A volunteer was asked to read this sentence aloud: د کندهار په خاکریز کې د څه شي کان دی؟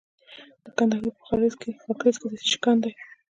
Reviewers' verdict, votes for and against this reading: accepted, 2, 0